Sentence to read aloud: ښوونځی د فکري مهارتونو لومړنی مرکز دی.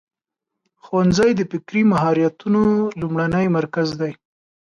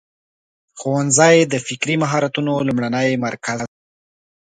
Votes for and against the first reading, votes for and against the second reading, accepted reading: 2, 0, 0, 2, first